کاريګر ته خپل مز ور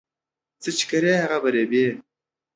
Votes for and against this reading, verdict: 0, 2, rejected